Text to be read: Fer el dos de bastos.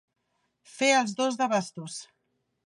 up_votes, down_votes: 1, 2